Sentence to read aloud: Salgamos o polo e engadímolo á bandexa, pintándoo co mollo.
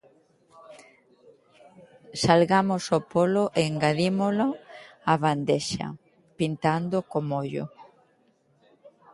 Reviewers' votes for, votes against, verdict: 2, 0, accepted